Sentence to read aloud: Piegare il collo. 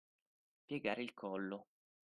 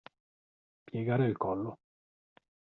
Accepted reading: first